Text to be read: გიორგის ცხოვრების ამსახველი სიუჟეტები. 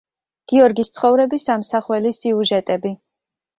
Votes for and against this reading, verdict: 2, 0, accepted